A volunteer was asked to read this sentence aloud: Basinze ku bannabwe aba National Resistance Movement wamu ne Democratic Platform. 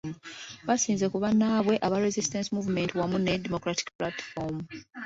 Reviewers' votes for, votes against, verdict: 1, 3, rejected